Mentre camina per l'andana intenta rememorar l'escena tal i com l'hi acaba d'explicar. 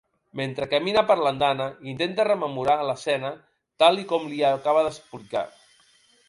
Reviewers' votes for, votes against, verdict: 1, 2, rejected